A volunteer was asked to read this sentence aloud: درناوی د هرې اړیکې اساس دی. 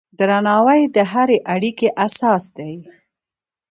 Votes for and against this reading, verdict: 2, 0, accepted